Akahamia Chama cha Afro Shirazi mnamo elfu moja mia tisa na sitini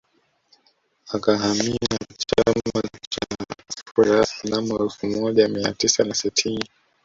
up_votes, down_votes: 0, 2